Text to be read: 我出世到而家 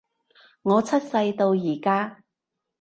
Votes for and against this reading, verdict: 2, 0, accepted